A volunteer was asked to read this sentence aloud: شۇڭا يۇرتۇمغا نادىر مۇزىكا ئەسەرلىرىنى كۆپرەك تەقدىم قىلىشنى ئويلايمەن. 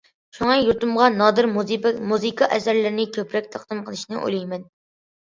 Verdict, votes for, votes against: rejected, 0, 2